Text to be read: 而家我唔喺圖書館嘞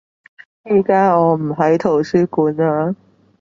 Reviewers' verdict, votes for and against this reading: rejected, 1, 2